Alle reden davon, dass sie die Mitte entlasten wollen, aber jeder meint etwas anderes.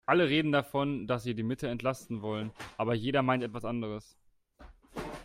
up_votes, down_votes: 2, 0